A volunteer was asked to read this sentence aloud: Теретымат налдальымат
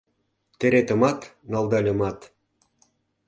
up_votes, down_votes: 2, 0